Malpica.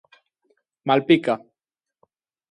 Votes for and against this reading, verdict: 2, 0, accepted